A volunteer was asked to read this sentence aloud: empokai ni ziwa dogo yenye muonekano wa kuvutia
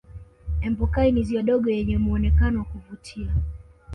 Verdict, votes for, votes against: accepted, 2, 0